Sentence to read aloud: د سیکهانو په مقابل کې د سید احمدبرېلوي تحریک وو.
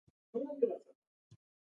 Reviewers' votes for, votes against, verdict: 0, 2, rejected